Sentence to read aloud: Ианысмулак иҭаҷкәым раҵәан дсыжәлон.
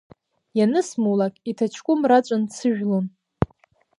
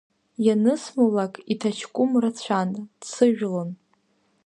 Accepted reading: first